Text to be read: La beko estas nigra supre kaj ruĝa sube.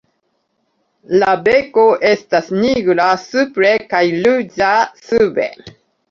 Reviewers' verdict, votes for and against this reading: rejected, 1, 2